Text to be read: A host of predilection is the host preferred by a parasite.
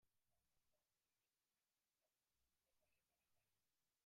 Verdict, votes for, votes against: rejected, 0, 4